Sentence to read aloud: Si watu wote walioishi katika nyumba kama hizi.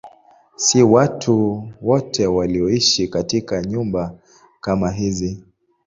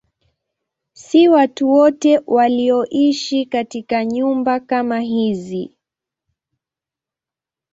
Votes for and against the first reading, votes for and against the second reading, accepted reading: 2, 0, 1, 2, first